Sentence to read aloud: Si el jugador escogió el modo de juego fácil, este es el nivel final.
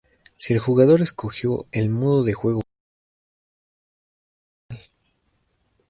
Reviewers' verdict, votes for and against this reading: rejected, 0, 2